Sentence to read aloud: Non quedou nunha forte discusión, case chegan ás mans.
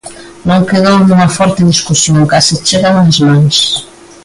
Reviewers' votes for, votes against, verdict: 2, 0, accepted